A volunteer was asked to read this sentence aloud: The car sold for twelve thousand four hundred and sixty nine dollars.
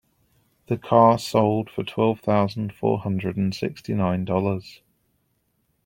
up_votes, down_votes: 2, 0